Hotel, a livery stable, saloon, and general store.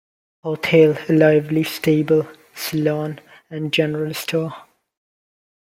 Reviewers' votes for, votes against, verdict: 0, 2, rejected